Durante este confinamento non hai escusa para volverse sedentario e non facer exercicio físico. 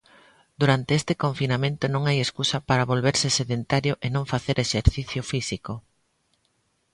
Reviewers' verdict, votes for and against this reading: accepted, 2, 0